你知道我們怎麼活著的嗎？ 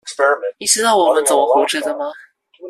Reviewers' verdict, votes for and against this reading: rejected, 0, 2